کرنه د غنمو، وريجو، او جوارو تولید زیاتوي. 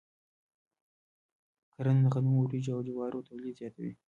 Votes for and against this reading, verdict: 0, 2, rejected